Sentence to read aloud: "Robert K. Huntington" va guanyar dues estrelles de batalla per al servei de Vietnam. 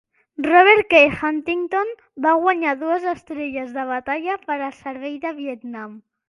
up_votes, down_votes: 2, 1